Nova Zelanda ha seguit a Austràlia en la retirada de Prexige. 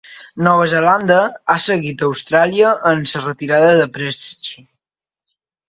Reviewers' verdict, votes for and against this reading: rejected, 1, 2